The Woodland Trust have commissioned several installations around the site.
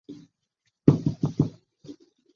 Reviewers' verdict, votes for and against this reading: rejected, 0, 2